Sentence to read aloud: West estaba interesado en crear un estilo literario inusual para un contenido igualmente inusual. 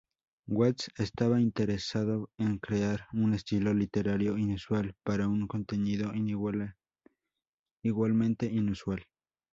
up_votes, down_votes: 0, 2